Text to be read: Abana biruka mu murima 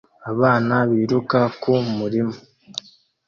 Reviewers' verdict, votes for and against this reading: rejected, 1, 2